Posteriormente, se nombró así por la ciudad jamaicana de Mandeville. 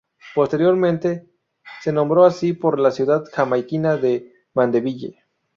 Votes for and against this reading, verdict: 0, 2, rejected